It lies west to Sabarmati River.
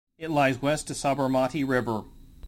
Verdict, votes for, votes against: rejected, 1, 2